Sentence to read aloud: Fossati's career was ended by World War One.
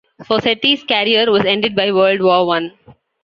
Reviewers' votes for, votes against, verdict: 2, 0, accepted